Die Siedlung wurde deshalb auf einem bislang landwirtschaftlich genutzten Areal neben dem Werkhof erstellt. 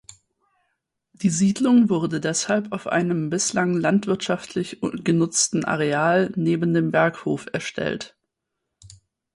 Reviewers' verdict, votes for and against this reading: rejected, 2, 6